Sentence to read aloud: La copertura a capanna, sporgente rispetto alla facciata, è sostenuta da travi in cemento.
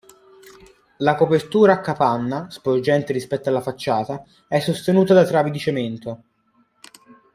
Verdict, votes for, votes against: rejected, 0, 2